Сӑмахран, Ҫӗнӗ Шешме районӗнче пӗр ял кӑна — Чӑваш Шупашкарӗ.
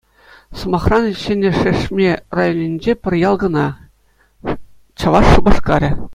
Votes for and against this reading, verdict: 2, 0, accepted